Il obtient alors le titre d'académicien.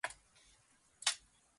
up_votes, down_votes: 1, 2